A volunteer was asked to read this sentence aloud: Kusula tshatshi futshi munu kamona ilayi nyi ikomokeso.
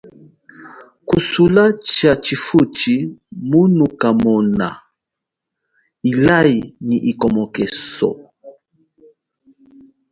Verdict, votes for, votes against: rejected, 0, 2